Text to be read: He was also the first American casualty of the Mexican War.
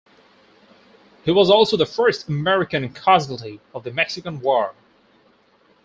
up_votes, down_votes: 0, 2